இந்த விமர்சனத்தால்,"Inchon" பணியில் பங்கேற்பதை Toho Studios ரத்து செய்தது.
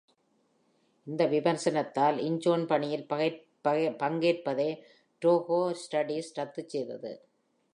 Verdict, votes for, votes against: rejected, 0, 3